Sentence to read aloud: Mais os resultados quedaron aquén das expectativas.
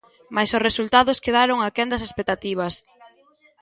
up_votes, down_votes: 1, 2